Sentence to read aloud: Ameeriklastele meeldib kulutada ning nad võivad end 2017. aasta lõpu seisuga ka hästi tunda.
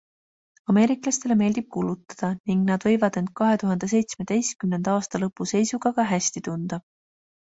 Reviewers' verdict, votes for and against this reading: rejected, 0, 2